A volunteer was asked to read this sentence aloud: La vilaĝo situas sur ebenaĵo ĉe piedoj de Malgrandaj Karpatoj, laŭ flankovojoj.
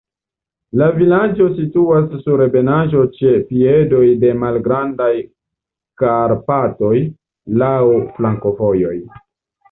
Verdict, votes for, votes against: accepted, 2, 1